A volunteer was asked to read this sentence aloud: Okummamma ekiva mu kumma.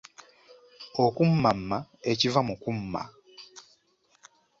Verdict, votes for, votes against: accepted, 2, 0